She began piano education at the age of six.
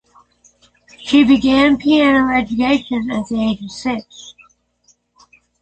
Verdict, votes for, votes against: accepted, 6, 3